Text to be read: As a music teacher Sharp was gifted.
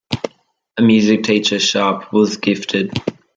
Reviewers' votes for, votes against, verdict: 0, 2, rejected